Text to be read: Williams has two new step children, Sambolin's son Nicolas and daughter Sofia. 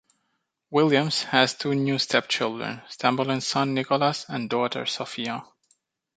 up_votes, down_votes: 2, 0